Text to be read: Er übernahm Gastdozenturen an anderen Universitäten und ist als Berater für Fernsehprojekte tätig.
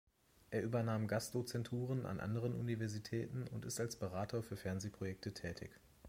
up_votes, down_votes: 2, 0